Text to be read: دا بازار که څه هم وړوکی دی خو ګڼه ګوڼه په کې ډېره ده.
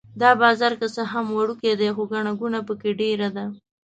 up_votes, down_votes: 2, 0